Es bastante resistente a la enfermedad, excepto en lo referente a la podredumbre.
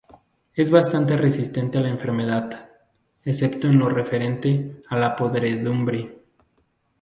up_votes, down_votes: 0, 2